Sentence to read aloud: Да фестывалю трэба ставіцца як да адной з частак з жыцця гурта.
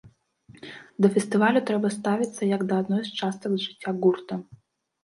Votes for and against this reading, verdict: 1, 2, rejected